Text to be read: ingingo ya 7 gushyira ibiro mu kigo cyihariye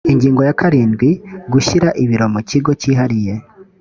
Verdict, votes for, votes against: rejected, 0, 2